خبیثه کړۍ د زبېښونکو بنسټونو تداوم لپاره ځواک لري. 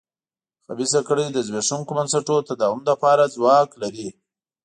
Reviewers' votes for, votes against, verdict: 2, 0, accepted